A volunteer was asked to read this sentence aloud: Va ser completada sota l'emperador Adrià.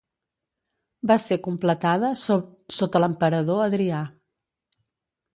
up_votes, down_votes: 1, 2